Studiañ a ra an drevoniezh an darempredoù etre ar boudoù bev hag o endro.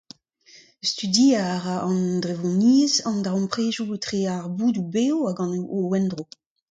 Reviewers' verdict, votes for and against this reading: accepted, 2, 0